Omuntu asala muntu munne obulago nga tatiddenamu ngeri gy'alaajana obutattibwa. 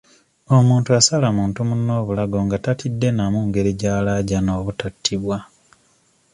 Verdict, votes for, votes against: accepted, 2, 0